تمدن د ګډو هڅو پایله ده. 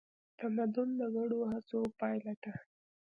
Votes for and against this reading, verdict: 2, 0, accepted